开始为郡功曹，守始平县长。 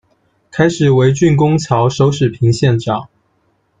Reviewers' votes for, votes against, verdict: 2, 1, accepted